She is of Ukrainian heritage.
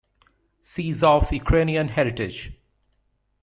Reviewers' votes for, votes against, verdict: 1, 2, rejected